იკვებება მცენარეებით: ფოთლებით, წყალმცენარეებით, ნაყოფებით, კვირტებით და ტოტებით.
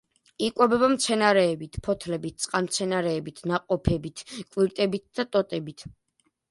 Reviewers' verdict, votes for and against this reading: accepted, 2, 0